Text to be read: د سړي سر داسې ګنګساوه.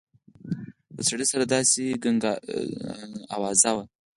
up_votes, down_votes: 4, 0